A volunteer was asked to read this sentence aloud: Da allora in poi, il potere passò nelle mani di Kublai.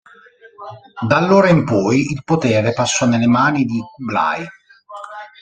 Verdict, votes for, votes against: rejected, 1, 2